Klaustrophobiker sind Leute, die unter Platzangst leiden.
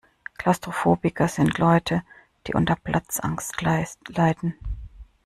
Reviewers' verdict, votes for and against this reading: rejected, 0, 2